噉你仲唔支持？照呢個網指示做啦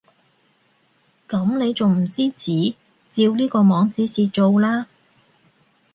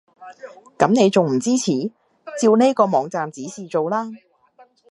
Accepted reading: first